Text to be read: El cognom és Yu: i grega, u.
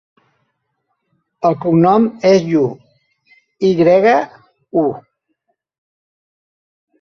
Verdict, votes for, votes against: accepted, 3, 0